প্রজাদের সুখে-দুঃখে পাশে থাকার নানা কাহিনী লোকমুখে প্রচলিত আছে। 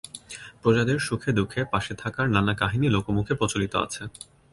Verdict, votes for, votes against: accepted, 2, 0